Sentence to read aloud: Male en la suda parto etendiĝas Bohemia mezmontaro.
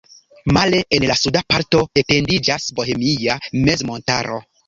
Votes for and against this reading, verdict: 2, 0, accepted